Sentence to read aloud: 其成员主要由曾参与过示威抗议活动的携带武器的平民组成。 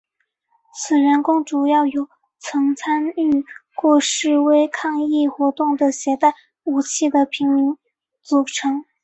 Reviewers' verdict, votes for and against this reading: rejected, 0, 2